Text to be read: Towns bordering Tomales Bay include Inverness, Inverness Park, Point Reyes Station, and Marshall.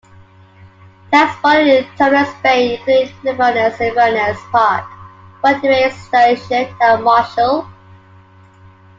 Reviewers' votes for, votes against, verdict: 0, 2, rejected